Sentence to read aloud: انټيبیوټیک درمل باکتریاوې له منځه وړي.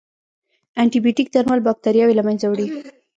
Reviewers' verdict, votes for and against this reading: accepted, 2, 0